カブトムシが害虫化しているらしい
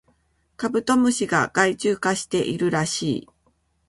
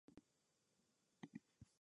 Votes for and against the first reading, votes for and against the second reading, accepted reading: 2, 0, 0, 2, first